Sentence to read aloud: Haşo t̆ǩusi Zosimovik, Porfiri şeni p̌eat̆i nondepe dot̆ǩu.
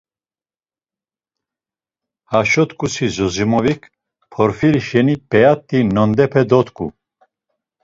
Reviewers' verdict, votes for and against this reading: accepted, 2, 0